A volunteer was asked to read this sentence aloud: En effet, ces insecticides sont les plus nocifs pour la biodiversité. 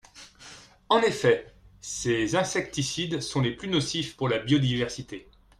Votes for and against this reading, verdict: 2, 0, accepted